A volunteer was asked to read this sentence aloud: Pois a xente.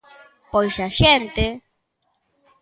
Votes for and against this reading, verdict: 2, 0, accepted